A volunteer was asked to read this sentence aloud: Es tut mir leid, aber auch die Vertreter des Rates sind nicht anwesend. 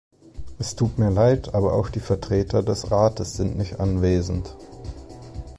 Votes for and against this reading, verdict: 2, 0, accepted